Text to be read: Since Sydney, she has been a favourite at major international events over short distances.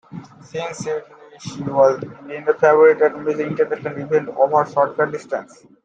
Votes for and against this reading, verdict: 0, 2, rejected